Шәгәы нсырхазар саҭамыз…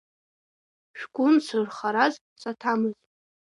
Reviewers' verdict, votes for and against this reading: rejected, 2, 3